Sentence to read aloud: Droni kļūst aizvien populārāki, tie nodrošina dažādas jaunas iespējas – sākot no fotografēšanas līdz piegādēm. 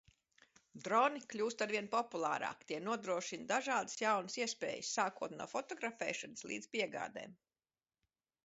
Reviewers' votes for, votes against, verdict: 2, 0, accepted